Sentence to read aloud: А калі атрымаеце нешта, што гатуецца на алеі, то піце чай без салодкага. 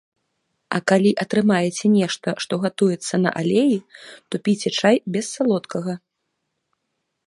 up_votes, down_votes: 2, 0